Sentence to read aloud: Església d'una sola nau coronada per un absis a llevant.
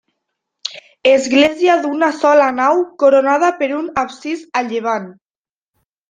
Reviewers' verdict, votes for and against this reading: rejected, 1, 2